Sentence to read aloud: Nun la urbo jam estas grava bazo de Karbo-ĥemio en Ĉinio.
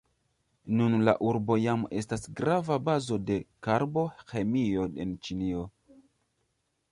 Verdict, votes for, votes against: rejected, 0, 2